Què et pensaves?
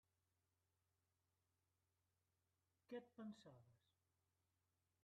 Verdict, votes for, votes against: rejected, 1, 2